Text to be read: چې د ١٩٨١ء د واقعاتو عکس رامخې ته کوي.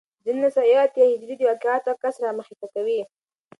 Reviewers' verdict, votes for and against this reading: rejected, 0, 2